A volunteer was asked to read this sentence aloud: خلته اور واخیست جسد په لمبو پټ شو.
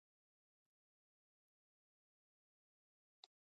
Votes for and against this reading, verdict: 1, 2, rejected